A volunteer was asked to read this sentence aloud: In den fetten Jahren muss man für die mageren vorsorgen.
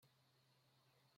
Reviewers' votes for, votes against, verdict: 0, 2, rejected